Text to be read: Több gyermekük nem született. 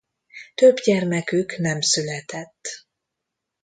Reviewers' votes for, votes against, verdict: 2, 0, accepted